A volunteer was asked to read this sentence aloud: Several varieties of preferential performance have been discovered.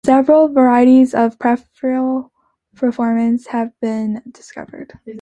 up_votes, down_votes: 0, 2